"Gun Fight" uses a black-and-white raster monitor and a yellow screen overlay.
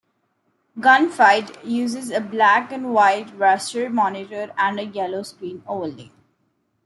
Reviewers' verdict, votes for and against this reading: accepted, 2, 0